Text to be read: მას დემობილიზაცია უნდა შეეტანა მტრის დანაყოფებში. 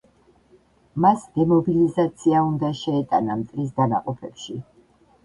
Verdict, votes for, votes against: rejected, 1, 2